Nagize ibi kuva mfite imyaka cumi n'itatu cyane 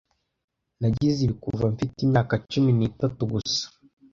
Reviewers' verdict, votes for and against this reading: rejected, 1, 2